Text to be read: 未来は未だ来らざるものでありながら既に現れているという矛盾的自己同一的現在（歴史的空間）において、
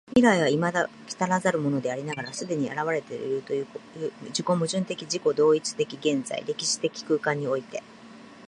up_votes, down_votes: 0, 2